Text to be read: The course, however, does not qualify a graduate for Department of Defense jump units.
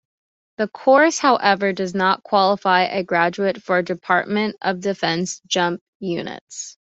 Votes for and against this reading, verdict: 2, 0, accepted